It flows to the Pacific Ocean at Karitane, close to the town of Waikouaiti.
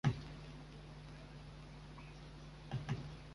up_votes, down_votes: 0, 2